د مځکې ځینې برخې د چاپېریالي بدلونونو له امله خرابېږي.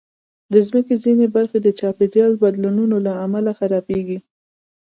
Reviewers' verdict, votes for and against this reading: accepted, 2, 0